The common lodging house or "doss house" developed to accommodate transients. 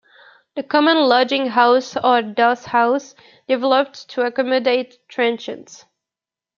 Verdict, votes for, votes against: rejected, 1, 2